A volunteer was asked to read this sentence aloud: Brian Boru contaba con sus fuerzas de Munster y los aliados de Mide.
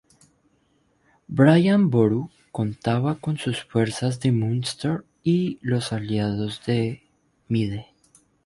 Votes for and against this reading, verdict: 2, 0, accepted